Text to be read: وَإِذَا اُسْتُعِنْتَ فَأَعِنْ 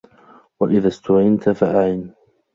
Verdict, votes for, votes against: accepted, 3, 0